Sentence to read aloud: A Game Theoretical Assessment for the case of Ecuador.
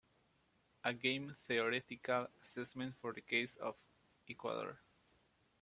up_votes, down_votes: 0, 2